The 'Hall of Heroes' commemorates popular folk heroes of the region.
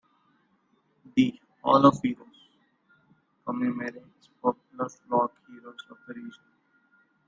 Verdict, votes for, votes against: rejected, 0, 2